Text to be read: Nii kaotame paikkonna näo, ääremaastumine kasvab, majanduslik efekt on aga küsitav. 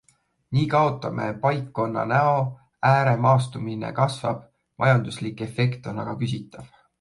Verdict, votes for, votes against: accepted, 2, 0